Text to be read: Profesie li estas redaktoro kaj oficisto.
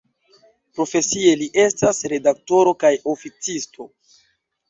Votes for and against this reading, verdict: 2, 0, accepted